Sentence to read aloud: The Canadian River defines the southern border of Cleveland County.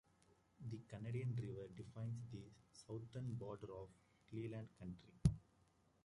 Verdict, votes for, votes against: rejected, 1, 2